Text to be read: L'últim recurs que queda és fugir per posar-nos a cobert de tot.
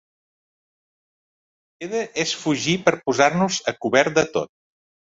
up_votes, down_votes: 1, 2